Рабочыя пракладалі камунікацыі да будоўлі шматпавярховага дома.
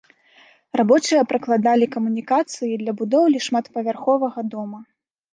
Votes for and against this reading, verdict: 1, 2, rejected